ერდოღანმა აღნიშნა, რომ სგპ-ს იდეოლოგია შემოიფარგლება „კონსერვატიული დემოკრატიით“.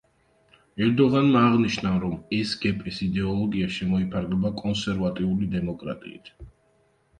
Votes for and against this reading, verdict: 0, 2, rejected